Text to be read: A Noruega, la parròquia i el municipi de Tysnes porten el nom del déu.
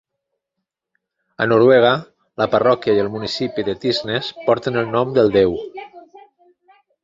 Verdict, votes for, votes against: accepted, 2, 1